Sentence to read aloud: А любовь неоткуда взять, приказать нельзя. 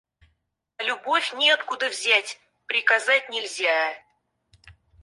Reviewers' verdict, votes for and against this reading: rejected, 2, 4